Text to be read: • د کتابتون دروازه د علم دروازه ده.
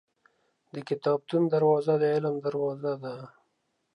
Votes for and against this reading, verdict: 3, 0, accepted